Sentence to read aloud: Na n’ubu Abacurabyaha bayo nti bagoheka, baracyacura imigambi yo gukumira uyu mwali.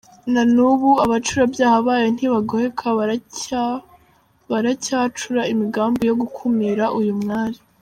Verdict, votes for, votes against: rejected, 0, 2